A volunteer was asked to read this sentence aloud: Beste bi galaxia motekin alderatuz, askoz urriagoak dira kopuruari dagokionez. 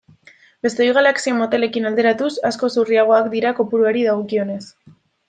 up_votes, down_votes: 0, 2